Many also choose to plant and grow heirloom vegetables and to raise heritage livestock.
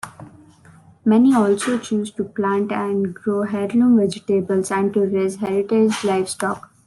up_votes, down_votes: 1, 2